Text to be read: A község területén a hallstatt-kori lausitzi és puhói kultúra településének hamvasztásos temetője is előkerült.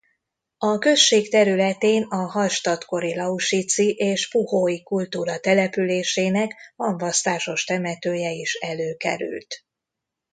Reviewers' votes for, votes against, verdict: 1, 2, rejected